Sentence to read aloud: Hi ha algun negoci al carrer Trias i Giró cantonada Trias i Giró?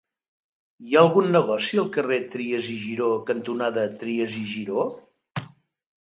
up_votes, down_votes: 3, 1